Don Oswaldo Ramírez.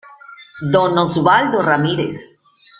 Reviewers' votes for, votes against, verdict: 1, 2, rejected